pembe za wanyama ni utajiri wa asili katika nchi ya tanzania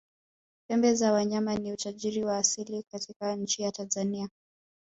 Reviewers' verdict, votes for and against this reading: accepted, 2, 0